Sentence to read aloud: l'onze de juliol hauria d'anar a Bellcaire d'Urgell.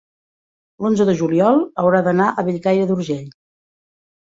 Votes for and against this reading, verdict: 0, 2, rejected